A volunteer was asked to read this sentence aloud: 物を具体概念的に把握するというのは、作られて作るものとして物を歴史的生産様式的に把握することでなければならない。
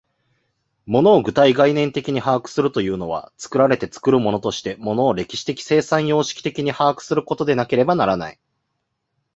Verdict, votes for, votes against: accepted, 2, 0